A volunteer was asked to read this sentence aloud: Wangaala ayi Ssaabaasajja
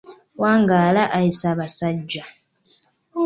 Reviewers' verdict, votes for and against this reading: accepted, 2, 0